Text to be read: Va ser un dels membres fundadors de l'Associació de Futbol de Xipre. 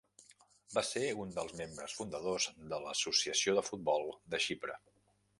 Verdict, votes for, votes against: accepted, 3, 1